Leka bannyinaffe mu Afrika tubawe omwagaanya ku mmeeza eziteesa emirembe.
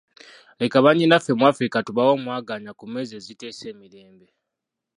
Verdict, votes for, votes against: rejected, 1, 2